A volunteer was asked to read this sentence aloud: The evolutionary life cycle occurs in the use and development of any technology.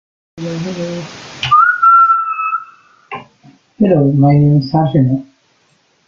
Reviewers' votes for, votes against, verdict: 0, 2, rejected